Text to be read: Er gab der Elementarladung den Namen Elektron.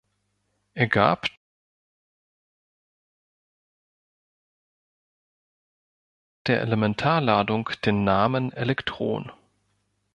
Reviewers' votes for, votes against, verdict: 2, 3, rejected